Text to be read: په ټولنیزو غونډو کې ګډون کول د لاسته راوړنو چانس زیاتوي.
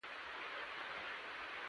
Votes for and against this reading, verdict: 1, 2, rejected